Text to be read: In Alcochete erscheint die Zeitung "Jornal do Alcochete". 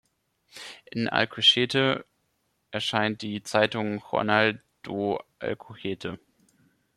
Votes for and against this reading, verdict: 1, 2, rejected